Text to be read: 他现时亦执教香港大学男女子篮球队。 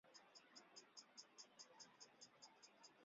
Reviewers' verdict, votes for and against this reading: rejected, 0, 2